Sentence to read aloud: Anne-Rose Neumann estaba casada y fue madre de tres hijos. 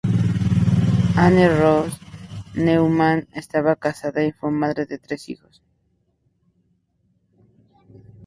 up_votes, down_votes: 4, 0